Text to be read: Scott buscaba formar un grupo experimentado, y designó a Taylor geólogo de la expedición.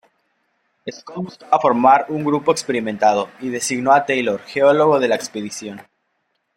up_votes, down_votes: 0, 2